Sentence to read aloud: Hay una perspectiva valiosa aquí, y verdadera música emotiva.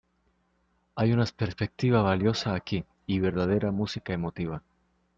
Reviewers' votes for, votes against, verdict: 0, 2, rejected